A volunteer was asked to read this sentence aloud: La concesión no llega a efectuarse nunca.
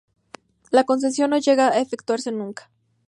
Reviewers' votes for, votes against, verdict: 2, 0, accepted